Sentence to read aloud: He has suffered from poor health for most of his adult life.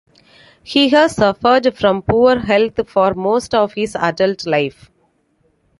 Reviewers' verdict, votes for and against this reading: accepted, 2, 1